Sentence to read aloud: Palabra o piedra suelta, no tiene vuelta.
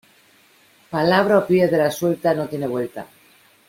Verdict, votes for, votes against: rejected, 1, 2